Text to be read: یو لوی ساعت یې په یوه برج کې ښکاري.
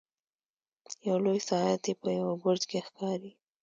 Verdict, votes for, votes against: accepted, 2, 0